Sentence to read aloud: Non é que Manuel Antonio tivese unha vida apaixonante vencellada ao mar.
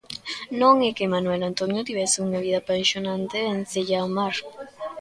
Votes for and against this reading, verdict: 1, 2, rejected